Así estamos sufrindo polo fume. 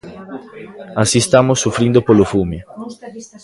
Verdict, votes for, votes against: rejected, 2, 3